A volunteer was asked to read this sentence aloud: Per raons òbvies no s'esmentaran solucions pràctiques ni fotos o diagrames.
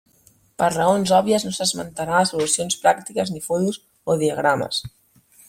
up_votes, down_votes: 1, 2